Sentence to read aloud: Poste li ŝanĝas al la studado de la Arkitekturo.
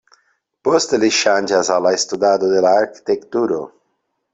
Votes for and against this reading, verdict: 2, 0, accepted